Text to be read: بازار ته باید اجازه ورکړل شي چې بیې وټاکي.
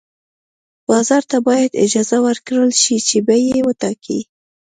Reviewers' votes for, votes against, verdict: 2, 0, accepted